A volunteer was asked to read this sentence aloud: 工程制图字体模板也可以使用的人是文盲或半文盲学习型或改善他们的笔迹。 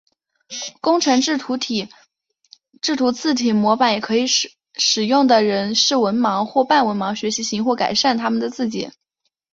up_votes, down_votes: 2, 0